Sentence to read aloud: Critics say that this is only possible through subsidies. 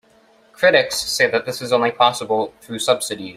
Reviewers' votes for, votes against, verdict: 0, 2, rejected